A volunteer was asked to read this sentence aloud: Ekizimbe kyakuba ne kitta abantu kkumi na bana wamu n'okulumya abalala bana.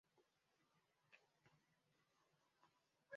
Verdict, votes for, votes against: rejected, 0, 2